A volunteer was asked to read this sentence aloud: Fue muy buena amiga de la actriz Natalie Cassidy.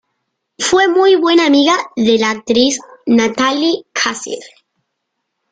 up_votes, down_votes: 2, 0